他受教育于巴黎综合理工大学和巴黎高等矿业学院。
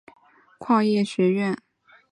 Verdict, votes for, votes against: rejected, 3, 4